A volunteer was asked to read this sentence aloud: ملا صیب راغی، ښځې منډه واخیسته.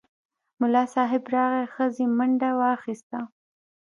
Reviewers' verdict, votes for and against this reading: rejected, 1, 2